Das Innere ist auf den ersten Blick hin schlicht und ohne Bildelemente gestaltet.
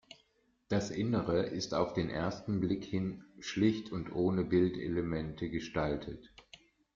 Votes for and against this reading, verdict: 2, 0, accepted